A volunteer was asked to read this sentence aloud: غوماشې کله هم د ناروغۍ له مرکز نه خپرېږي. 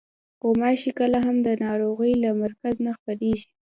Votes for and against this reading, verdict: 1, 2, rejected